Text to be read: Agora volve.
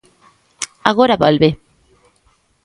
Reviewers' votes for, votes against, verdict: 2, 0, accepted